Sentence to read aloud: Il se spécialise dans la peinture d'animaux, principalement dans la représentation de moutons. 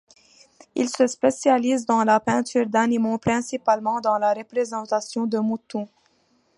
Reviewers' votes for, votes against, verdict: 2, 0, accepted